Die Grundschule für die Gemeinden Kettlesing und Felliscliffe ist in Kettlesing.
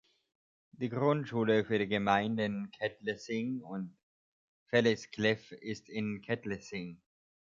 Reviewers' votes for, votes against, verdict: 1, 2, rejected